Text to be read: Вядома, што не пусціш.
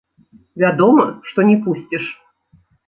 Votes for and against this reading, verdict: 2, 0, accepted